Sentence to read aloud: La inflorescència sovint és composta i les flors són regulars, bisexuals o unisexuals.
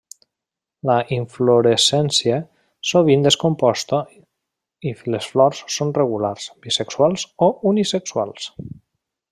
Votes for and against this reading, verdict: 3, 0, accepted